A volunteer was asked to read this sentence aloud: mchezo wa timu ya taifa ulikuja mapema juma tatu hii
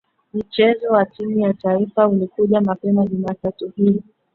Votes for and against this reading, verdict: 0, 2, rejected